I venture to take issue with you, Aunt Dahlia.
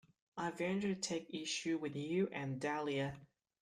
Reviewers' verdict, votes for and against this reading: rejected, 1, 2